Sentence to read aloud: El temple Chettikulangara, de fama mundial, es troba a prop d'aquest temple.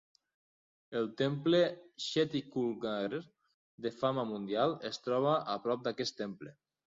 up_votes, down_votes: 1, 2